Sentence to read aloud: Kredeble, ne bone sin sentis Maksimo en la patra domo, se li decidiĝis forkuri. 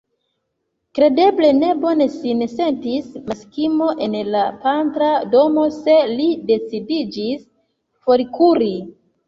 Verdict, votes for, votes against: accepted, 2, 1